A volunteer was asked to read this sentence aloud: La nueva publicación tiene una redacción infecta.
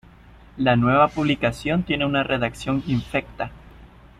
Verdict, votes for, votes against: accepted, 2, 0